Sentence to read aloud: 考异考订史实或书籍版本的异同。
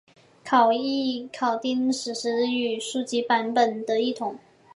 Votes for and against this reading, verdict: 3, 1, accepted